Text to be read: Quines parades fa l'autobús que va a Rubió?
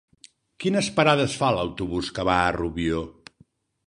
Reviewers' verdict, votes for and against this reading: accepted, 3, 0